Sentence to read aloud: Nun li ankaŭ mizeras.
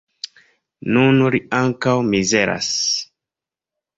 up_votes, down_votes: 2, 0